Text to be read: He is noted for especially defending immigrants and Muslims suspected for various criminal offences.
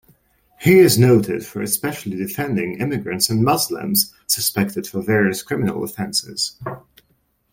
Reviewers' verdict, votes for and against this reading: accepted, 2, 0